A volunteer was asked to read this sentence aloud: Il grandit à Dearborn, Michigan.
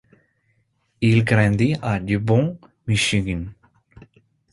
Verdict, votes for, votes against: accepted, 2, 0